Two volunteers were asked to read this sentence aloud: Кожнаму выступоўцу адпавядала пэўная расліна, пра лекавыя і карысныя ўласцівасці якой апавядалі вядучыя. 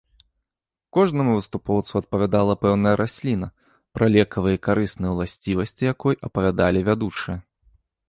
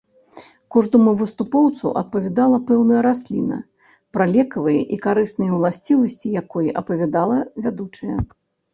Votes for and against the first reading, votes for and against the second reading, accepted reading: 2, 0, 0, 2, first